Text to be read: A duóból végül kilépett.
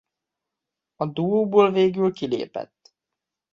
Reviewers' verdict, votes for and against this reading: accepted, 2, 0